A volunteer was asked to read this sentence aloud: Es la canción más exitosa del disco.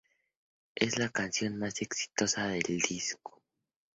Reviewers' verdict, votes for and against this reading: accepted, 4, 0